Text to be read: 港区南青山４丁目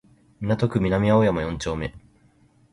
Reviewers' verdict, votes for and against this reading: rejected, 0, 2